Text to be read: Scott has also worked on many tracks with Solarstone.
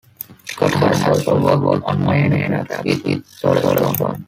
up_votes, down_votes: 0, 2